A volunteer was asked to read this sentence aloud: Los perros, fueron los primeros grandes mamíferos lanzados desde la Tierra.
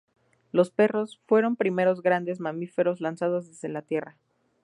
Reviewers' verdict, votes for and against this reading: rejected, 0, 2